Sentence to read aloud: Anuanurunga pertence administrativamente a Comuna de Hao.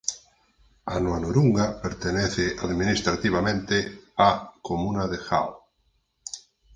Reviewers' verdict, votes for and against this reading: rejected, 2, 4